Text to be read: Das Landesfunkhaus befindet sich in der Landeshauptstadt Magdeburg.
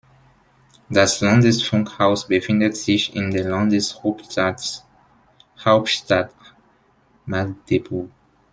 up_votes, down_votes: 0, 2